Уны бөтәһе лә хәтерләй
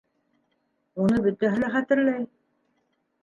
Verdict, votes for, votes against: rejected, 1, 3